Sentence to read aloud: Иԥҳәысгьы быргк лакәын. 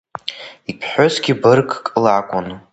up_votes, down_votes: 1, 2